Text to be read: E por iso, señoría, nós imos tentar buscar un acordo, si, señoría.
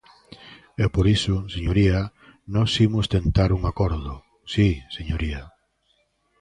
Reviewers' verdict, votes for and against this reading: rejected, 0, 2